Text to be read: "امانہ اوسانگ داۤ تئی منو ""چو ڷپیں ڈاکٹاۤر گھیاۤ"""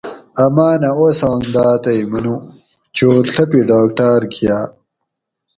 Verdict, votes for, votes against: rejected, 2, 2